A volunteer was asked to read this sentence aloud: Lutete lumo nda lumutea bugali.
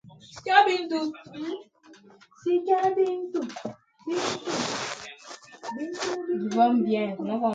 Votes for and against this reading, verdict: 0, 2, rejected